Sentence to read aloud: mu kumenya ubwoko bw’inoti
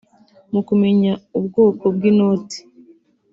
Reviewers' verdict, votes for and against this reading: accepted, 2, 0